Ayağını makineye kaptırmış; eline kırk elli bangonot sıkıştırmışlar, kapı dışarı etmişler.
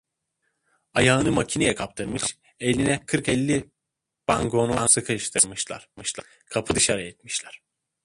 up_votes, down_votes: 0, 2